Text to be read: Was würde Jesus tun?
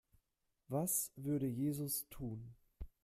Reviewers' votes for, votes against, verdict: 2, 0, accepted